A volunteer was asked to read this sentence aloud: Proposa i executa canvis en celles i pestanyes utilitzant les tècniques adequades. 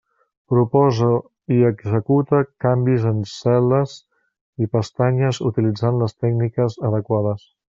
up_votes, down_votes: 1, 2